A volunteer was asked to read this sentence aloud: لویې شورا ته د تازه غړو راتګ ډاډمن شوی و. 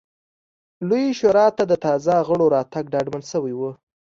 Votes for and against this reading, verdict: 2, 0, accepted